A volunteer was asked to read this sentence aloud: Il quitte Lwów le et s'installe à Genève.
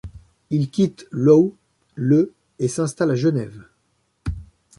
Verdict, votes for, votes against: accepted, 2, 1